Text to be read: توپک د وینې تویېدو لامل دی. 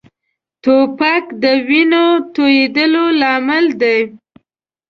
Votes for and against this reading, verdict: 2, 1, accepted